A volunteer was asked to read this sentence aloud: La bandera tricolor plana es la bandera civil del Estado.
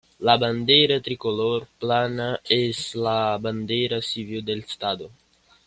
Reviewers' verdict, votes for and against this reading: accepted, 2, 0